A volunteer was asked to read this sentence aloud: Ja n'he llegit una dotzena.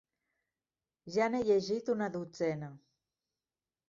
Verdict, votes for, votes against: accepted, 3, 0